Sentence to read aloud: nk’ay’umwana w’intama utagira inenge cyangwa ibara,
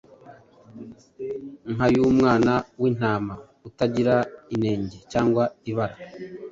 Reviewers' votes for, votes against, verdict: 2, 0, accepted